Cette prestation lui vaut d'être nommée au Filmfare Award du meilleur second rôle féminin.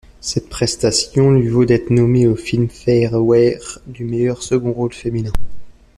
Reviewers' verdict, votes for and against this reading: rejected, 0, 2